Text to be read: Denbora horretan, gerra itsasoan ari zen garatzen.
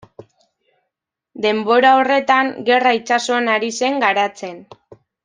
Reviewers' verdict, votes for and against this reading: accepted, 2, 0